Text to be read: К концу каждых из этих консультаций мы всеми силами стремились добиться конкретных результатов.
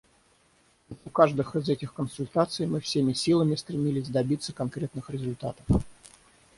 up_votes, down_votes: 0, 6